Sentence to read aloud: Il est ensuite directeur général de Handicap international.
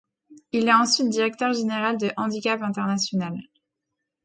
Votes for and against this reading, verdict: 2, 0, accepted